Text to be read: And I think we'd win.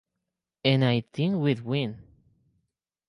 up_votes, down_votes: 2, 4